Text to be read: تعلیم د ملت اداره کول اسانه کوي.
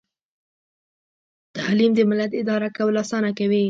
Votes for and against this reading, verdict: 1, 2, rejected